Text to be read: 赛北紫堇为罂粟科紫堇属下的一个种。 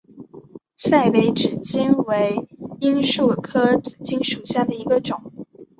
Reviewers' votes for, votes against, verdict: 2, 0, accepted